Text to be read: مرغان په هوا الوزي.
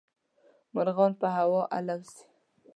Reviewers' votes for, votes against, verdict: 3, 0, accepted